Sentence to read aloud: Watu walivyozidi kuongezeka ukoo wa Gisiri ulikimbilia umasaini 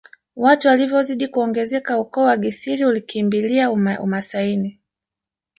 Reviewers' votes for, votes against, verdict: 2, 1, accepted